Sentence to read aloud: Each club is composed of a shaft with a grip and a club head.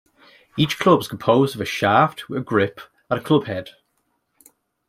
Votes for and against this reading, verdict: 2, 0, accepted